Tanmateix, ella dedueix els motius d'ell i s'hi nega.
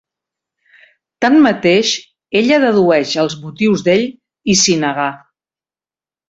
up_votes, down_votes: 1, 2